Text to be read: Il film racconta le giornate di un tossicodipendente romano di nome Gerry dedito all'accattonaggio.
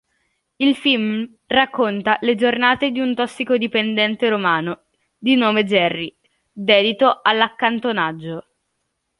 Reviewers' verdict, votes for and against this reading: rejected, 0, 2